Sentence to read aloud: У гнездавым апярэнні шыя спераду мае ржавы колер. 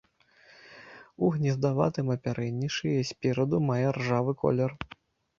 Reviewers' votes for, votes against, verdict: 0, 2, rejected